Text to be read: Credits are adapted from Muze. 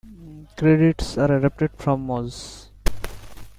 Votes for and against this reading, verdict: 2, 1, accepted